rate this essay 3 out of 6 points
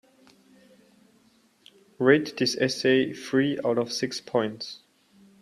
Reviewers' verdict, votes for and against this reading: rejected, 0, 2